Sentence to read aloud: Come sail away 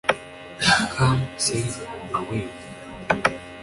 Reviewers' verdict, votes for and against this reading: rejected, 1, 2